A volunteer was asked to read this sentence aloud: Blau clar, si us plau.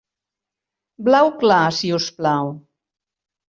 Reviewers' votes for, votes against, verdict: 3, 0, accepted